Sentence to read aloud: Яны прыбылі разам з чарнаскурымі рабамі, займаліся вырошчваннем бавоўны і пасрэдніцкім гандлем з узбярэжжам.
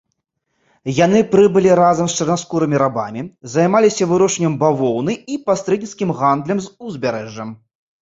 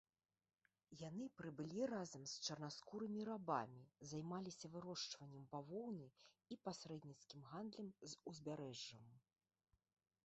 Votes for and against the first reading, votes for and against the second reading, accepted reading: 2, 0, 1, 2, first